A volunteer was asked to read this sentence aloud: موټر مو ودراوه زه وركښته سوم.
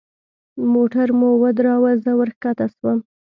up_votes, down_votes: 2, 0